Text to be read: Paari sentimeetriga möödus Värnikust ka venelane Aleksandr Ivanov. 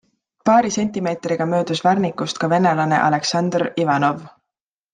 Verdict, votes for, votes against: accepted, 2, 0